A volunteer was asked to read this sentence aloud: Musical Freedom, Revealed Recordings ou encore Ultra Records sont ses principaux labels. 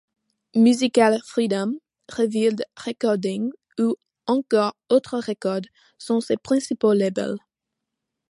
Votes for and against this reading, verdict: 2, 0, accepted